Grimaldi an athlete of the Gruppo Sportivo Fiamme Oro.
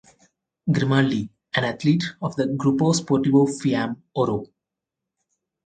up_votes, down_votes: 4, 0